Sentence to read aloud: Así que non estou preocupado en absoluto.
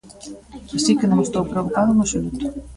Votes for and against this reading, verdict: 2, 0, accepted